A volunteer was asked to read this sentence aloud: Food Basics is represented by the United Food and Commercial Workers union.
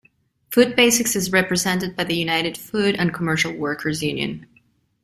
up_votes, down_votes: 2, 0